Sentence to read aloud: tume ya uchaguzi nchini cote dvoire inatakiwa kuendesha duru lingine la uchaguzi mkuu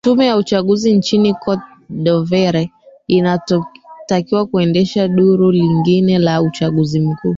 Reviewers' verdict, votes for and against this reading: rejected, 0, 2